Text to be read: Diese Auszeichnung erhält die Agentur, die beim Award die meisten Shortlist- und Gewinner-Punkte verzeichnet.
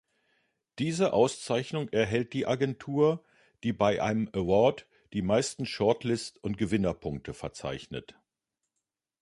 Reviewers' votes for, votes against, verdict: 0, 3, rejected